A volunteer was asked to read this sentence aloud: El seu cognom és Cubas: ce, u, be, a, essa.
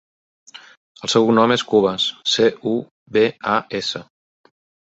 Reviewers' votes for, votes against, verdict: 2, 1, accepted